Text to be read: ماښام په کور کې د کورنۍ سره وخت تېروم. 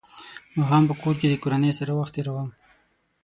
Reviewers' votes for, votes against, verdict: 6, 0, accepted